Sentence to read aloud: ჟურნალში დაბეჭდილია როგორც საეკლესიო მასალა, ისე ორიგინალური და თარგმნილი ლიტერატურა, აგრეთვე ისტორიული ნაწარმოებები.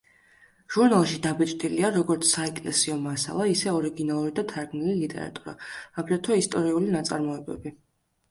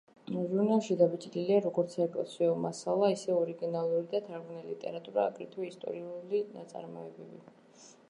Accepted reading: first